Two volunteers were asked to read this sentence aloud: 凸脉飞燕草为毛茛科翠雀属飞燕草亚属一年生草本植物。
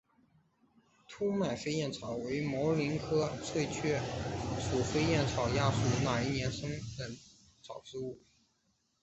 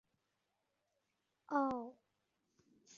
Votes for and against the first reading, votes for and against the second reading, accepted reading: 5, 3, 0, 3, first